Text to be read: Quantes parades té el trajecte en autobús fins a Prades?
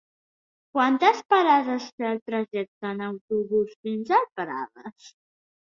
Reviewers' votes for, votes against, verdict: 1, 2, rejected